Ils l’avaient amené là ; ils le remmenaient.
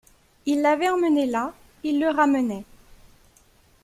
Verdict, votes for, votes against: rejected, 1, 2